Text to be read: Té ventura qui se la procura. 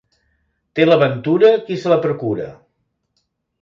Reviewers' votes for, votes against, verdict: 0, 3, rejected